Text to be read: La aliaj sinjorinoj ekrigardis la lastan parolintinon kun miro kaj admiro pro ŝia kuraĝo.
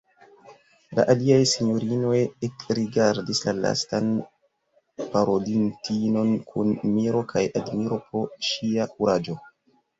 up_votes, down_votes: 0, 2